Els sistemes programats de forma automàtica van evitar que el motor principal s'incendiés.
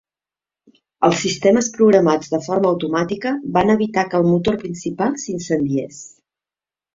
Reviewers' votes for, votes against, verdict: 2, 0, accepted